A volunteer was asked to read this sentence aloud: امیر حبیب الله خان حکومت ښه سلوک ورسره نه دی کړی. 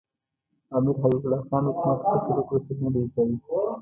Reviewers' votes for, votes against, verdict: 0, 2, rejected